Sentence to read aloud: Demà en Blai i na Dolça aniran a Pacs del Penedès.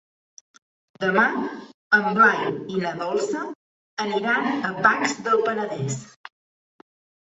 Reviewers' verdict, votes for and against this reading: rejected, 0, 2